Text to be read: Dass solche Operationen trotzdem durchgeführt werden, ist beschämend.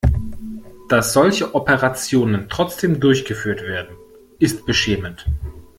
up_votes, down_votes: 2, 0